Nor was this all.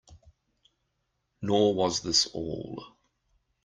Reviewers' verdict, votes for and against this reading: rejected, 1, 2